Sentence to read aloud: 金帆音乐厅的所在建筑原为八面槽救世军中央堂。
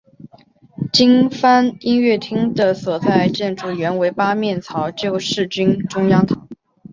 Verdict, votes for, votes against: accepted, 2, 0